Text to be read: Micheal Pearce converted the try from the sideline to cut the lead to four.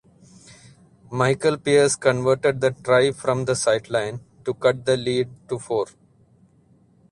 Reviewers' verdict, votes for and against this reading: rejected, 2, 4